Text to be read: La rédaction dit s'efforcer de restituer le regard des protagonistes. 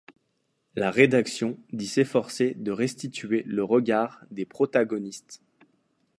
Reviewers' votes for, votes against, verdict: 2, 0, accepted